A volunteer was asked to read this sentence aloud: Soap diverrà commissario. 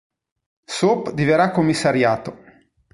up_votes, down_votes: 1, 2